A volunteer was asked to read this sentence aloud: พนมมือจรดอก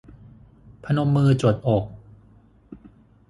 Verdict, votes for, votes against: rejected, 3, 6